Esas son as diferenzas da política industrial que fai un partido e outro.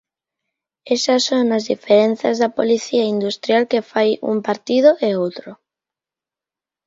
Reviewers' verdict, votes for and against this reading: rejected, 0, 2